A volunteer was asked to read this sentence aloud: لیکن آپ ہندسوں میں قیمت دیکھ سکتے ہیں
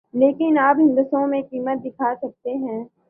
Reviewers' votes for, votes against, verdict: 3, 1, accepted